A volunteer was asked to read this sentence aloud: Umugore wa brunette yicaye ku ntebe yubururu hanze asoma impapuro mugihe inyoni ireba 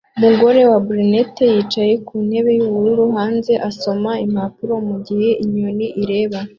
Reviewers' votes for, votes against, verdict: 2, 0, accepted